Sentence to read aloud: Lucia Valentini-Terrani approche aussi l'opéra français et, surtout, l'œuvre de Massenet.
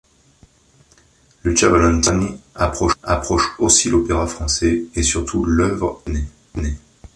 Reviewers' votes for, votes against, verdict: 0, 3, rejected